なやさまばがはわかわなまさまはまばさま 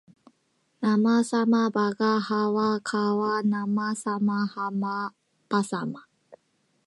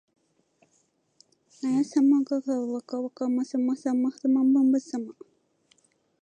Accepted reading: second